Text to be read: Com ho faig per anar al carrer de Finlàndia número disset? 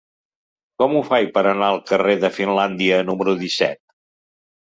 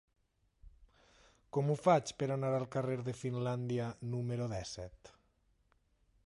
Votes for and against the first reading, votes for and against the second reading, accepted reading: 3, 0, 0, 2, first